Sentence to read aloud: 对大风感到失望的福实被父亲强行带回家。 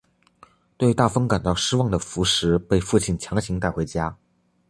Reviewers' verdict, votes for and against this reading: accepted, 2, 0